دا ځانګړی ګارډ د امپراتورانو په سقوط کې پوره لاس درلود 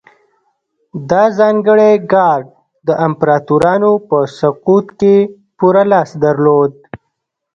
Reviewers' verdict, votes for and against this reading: rejected, 0, 2